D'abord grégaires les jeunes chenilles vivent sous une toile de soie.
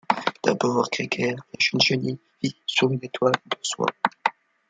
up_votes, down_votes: 1, 2